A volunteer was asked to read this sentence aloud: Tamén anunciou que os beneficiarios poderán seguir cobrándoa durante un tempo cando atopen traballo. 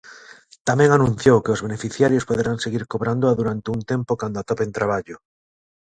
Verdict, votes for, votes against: accepted, 3, 0